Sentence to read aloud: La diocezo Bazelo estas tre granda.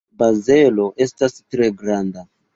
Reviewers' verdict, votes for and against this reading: rejected, 0, 2